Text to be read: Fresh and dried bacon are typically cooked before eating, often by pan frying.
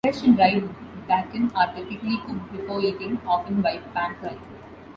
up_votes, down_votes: 1, 2